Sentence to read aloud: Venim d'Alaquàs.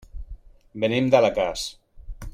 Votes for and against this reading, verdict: 1, 2, rejected